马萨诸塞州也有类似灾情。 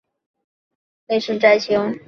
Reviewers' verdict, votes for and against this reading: rejected, 0, 3